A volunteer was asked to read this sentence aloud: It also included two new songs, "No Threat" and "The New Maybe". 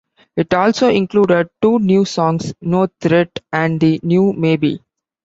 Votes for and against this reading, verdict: 2, 0, accepted